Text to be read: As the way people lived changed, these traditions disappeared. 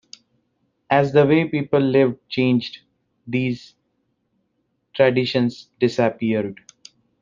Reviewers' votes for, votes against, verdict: 1, 2, rejected